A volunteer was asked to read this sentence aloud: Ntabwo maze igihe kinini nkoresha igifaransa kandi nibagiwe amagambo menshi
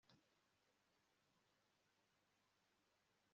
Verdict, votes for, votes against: rejected, 0, 2